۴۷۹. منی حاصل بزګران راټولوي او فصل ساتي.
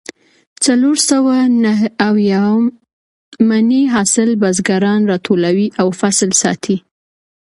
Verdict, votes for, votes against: rejected, 0, 2